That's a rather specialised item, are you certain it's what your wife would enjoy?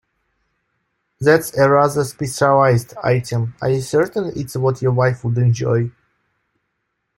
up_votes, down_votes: 2, 1